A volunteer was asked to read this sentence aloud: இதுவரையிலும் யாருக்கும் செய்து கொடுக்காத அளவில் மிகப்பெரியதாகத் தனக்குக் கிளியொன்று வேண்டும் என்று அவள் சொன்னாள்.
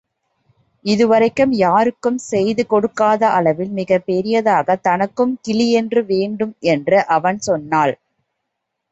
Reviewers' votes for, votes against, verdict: 0, 2, rejected